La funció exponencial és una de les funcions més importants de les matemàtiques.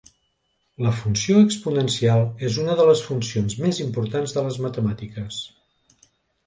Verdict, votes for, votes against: accepted, 3, 0